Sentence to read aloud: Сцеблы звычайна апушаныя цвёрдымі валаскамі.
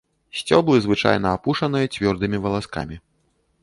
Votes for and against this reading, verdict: 1, 2, rejected